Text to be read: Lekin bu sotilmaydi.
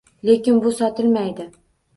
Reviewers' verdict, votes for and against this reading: accepted, 2, 0